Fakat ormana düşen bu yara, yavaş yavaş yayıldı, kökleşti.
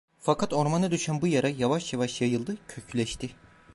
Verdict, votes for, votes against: accepted, 2, 0